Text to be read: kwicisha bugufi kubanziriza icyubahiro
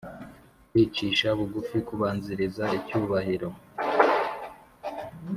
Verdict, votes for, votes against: accepted, 2, 0